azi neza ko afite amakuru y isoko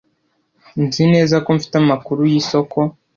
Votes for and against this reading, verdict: 0, 2, rejected